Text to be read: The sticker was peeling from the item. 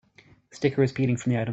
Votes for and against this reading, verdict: 1, 2, rejected